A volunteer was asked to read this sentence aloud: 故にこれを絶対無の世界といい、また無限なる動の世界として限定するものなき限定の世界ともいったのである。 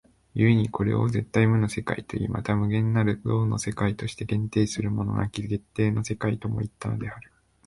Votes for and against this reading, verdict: 2, 0, accepted